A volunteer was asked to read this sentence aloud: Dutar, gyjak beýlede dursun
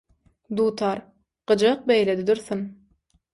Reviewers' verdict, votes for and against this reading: accepted, 6, 0